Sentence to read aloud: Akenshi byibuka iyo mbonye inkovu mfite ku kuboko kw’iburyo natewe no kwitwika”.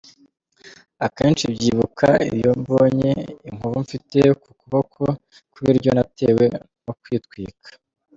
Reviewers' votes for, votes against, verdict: 2, 0, accepted